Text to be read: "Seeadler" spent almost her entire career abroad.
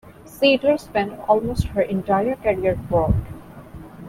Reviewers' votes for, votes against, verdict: 0, 2, rejected